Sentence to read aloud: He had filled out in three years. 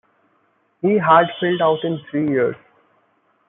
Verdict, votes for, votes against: accepted, 2, 0